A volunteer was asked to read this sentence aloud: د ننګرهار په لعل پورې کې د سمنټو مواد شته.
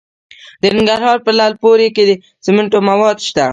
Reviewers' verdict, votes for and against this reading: rejected, 0, 2